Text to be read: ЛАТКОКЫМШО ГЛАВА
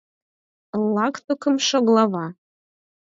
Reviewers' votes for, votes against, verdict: 2, 4, rejected